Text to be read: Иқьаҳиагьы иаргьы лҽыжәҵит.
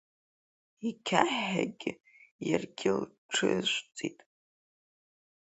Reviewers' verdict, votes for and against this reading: rejected, 0, 3